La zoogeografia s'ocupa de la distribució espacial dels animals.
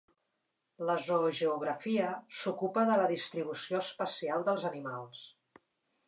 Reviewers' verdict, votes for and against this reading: accepted, 2, 0